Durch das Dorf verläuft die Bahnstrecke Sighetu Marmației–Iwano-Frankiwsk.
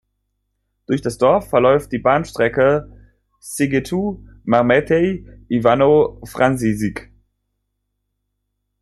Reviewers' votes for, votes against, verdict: 1, 3, rejected